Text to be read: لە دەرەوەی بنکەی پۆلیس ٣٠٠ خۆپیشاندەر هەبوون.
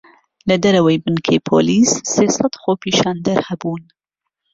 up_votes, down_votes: 0, 2